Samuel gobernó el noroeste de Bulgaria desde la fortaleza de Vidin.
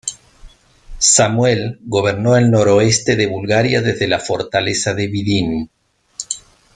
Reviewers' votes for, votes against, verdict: 2, 0, accepted